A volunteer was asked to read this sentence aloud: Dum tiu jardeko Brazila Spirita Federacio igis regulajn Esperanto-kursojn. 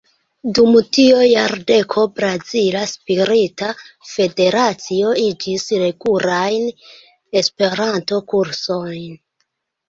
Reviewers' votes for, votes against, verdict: 0, 2, rejected